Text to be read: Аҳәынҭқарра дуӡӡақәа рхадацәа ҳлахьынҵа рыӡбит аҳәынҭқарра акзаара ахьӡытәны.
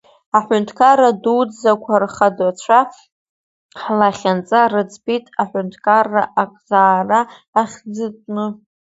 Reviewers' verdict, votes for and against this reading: accepted, 2, 0